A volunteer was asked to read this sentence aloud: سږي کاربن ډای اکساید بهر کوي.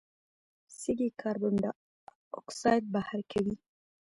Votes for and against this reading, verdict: 0, 2, rejected